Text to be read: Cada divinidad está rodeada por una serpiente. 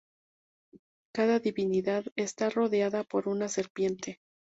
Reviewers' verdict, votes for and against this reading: accepted, 2, 0